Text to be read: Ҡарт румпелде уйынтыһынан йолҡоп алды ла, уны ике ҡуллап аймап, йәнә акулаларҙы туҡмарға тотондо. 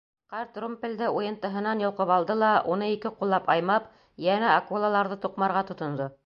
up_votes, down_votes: 2, 0